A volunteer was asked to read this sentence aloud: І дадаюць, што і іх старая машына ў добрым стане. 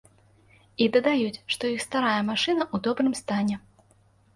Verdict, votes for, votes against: rejected, 1, 2